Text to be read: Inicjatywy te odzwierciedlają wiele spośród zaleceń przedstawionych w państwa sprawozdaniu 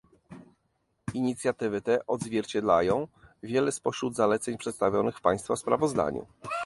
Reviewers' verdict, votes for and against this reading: rejected, 1, 2